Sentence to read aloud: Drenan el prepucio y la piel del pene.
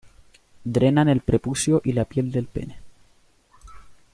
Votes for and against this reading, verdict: 2, 0, accepted